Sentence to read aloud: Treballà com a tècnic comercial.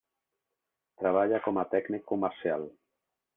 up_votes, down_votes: 0, 2